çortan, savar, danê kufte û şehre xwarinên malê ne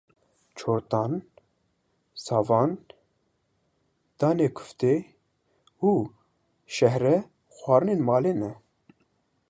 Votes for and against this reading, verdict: 1, 2, rejected